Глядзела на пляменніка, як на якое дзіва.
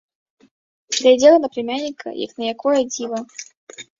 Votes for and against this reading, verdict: 0, 2, rejected